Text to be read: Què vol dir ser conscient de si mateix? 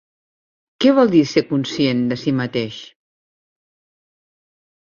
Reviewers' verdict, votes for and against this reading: accepted, 3, 0